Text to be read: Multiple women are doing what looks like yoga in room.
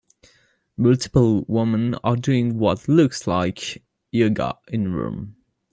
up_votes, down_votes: 2, 1